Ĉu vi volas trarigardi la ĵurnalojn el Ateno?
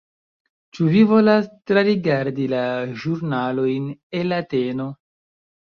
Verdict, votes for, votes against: accepted, 2, 0